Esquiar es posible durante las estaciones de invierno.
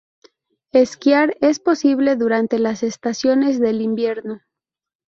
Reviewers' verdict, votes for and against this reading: rejected, 2, 2